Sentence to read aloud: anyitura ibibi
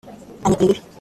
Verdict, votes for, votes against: rejected, 0, 2